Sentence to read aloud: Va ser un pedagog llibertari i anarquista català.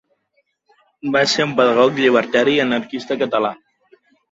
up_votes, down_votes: 1, 2